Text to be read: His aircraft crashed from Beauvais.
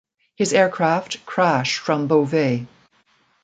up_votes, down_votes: 2, 0